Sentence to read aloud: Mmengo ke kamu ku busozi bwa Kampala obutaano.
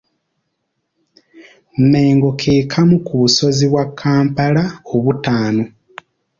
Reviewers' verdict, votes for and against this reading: accepted, 2, 0